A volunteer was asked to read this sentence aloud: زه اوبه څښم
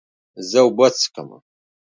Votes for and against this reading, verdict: 4, 0, accepted